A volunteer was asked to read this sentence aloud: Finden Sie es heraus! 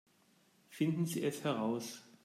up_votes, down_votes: 2, 0